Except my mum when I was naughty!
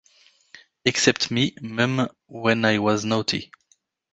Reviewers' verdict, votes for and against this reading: rejected, 1, 2